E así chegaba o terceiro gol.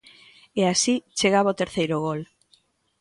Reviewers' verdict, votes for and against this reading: accepted, 2, 0